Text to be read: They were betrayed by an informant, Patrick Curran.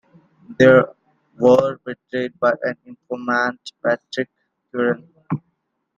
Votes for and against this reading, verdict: 1, 2, rejected